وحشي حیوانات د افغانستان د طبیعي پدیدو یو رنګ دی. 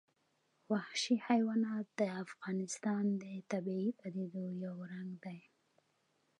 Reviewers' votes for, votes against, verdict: 2, 0, accepted